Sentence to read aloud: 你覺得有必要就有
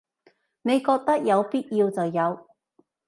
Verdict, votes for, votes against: accepted, 2, 0